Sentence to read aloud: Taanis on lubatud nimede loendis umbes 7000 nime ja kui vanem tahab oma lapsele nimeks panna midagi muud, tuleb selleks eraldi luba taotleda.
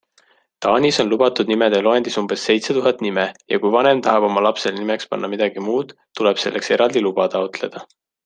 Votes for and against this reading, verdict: 0, 2, rejected